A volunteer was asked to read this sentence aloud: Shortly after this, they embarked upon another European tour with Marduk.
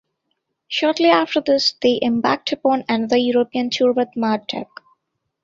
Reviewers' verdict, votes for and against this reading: accepted, 2, 1